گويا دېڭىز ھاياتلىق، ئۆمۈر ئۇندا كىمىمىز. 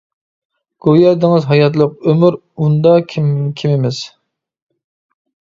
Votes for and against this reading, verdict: 1, 2, rejected